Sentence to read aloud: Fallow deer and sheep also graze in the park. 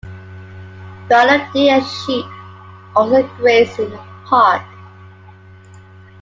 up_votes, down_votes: 0, 2